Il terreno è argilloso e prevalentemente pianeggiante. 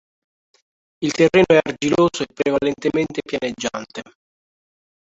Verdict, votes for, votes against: rejected, 1, 2